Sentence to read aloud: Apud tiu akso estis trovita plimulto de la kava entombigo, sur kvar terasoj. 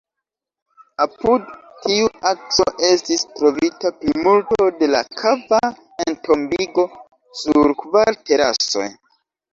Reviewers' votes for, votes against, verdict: 2, 0, accepted